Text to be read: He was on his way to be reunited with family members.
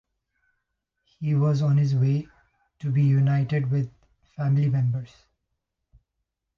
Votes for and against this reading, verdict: 0, 2, rejected